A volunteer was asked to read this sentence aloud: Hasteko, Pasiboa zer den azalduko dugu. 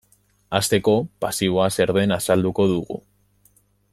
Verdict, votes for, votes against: accepted, 2, 0